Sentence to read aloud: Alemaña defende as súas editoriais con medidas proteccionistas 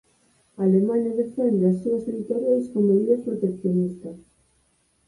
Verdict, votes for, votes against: rejected, 2, 4